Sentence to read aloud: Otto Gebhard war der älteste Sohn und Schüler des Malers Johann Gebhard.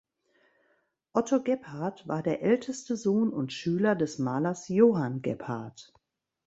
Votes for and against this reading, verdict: 2, 0, accepted